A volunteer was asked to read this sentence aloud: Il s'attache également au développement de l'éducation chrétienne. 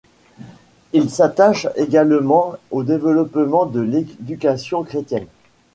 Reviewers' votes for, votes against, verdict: 2, 0, accepted